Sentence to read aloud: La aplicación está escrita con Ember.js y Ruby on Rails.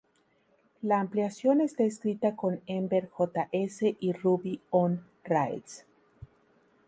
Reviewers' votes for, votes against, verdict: 0, 2, rejected